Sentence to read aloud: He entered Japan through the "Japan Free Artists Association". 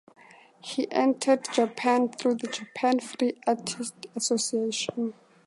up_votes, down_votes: 2, 0